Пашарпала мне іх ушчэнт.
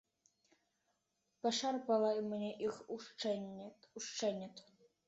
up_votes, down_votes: 0, 2